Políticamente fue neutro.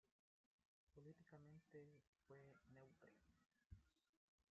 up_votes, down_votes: 0, 2